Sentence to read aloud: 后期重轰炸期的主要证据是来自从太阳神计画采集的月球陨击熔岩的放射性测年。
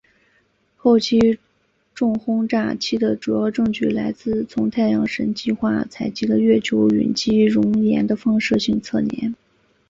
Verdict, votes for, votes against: accepted, 2, 0